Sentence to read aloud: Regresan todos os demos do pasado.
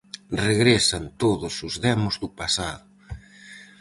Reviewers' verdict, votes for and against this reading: accepted, 4, 0